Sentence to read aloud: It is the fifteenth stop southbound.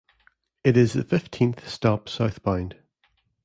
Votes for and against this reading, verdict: 2, 1, accepted